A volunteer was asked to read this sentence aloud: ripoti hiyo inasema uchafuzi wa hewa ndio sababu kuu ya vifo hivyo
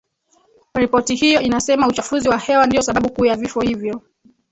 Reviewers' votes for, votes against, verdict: 2, 3, rejected